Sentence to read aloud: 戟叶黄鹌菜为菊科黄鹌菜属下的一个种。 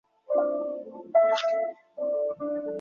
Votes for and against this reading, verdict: 0, 4, rejected